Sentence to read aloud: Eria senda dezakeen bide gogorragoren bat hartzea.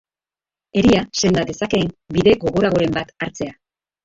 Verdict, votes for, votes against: rejected, 0, 2